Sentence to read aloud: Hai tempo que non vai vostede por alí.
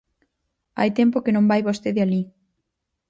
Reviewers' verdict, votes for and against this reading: rejected, 0, 4